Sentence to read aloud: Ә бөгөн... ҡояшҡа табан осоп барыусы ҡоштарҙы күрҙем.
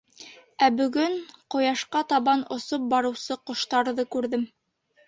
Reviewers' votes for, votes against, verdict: 2, 0, accepted